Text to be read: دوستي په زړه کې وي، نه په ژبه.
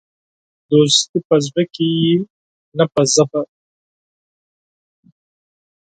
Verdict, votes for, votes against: rejected, 2, 4